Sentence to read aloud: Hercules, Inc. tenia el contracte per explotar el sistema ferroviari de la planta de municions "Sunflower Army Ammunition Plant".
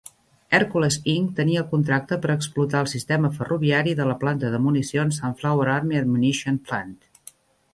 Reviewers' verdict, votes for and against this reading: accepted, 2, 0